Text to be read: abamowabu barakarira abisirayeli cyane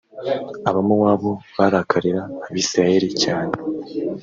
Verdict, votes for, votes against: accepted, 2, 0